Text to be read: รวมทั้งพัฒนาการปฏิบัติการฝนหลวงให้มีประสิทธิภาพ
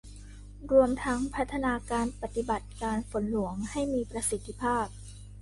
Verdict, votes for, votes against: accepted, 2, 0